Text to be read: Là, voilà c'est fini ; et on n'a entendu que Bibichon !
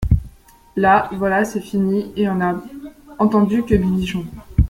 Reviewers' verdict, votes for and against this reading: accepted, 2, 1